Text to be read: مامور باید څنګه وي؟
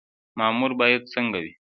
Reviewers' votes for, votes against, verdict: 2, 0, accepted